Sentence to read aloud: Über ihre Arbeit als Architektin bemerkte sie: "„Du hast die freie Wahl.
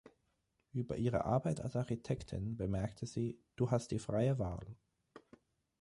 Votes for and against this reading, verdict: 9, 3, accepted